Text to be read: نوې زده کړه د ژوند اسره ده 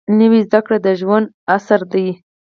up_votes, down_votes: 0, 4